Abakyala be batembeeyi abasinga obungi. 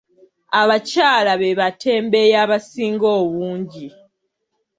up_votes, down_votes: 2, 0